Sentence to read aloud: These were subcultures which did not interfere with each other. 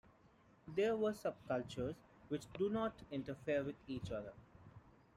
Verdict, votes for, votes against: rejected, 1, 2